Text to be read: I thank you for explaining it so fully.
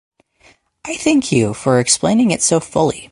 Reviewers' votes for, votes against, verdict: 2, 2, rejected